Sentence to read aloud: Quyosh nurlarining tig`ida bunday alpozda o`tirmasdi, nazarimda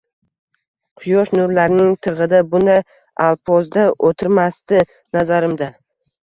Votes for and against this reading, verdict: 2, 0, accepted